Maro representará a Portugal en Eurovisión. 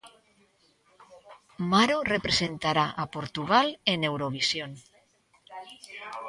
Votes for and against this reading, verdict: 4, 0, accepted